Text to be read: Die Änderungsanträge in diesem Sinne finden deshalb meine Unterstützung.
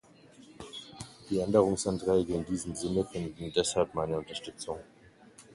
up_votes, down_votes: 2, 1